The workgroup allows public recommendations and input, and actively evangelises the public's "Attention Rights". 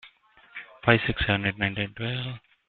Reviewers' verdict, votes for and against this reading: rejected, 0, 2